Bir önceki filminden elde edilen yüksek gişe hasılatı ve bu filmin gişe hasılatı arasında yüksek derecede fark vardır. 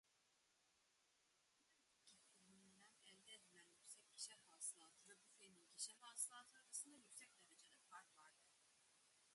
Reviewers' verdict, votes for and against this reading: rejected, 0, 2